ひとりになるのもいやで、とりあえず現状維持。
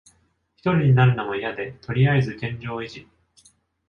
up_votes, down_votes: 2, 0